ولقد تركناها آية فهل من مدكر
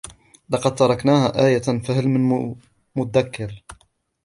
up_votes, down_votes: 2, 0